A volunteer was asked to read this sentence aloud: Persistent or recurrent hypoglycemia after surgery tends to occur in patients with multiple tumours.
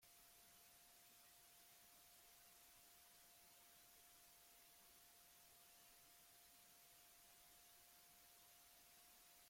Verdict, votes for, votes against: rejected, 0, 2